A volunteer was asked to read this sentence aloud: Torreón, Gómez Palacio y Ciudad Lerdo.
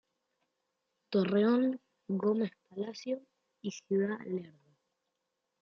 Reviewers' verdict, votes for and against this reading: rejected, 1, 2